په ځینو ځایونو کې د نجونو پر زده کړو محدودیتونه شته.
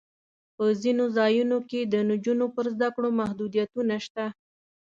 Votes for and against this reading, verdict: 2, 0, accepted